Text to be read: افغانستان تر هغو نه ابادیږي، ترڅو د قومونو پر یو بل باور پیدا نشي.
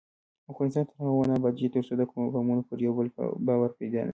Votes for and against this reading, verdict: 1, 2, rejected